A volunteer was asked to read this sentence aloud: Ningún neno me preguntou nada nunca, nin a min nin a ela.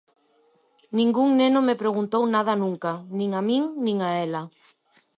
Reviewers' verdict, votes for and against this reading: accepted, 2, 0